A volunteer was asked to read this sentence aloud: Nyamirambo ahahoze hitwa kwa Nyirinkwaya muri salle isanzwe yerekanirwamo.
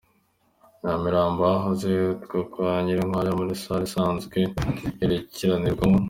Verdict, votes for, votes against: accepted, 2, 1